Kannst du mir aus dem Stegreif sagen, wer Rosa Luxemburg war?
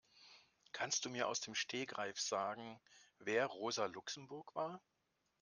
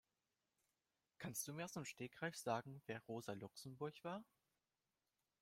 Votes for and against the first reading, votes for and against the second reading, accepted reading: 1, 2, 2, 0, second